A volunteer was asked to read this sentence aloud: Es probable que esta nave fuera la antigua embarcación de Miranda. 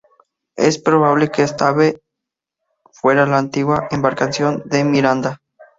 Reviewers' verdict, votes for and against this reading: rejected, 0, 6